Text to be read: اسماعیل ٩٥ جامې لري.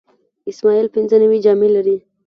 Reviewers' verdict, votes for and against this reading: rejected, 0, 2